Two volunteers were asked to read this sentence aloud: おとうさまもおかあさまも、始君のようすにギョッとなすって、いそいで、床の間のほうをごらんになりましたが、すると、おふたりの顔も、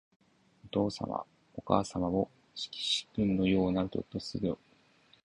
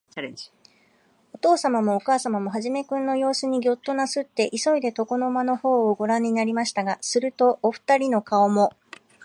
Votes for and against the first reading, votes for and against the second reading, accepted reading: 0, 2, 2, 0, second